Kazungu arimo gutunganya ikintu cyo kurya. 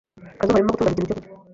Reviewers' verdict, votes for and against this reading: rejected, 1, 2